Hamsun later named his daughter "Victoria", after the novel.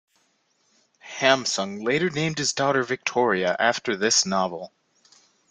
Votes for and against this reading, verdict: 0, 2, rejected